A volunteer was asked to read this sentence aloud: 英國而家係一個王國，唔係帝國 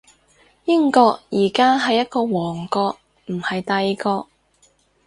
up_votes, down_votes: 4, 0